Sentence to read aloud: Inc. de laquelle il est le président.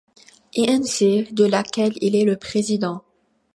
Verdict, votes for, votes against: accepted, 2, 1